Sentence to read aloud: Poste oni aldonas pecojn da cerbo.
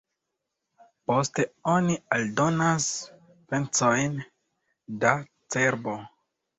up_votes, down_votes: 2, 1